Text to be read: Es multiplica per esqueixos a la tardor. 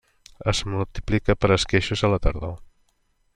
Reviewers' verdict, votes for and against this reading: accepted, 2, 0